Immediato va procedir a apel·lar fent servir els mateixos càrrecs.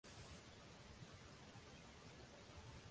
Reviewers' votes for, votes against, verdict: 0, 2, rejected